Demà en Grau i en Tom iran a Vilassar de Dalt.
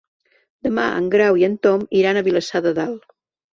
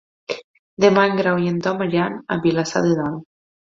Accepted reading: first